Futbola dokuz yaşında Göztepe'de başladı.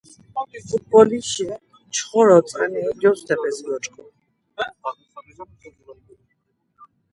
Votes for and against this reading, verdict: 0, 2, rejected